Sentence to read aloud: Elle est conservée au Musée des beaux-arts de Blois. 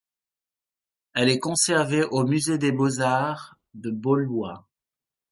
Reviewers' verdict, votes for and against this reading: rejected, 0, 2